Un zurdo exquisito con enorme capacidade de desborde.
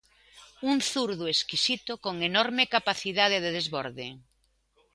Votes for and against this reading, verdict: 2, 0, accepted